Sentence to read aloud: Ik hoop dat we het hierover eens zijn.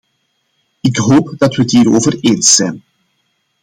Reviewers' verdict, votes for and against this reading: accepted, 2, 0